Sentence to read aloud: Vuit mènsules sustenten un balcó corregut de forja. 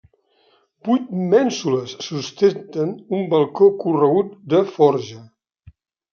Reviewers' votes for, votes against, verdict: 0, 2, rejected